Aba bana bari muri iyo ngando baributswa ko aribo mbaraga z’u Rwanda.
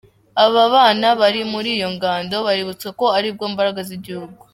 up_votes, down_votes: 1, 2